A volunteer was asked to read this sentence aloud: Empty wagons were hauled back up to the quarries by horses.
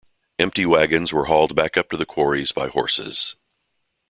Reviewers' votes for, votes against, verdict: 2, 0, accepted